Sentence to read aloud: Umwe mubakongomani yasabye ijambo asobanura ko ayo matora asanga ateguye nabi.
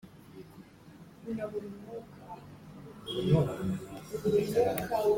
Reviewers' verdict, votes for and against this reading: rejected, 0, 2